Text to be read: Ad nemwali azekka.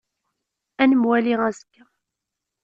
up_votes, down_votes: 1, 2